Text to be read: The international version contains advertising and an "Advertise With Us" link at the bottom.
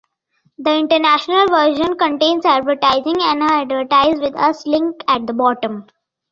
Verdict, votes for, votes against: accepted, 2, 1